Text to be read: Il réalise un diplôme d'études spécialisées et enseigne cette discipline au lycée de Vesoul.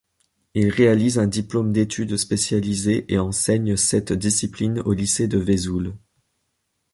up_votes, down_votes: 1, 2